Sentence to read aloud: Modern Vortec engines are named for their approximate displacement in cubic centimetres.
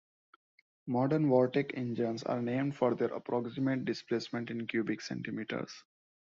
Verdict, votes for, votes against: accepted, 2, 0